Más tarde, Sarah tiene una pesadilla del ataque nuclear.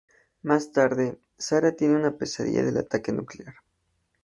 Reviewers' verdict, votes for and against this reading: accepted, 2, 0